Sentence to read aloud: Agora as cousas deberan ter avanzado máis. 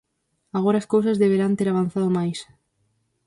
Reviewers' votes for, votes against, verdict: 0, 4, rejected